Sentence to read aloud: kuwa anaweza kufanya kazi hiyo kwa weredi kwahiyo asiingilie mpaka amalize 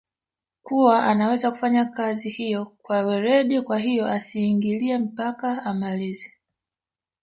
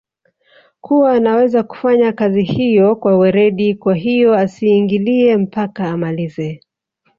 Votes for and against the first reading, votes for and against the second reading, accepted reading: 1, 2, 2, 0, second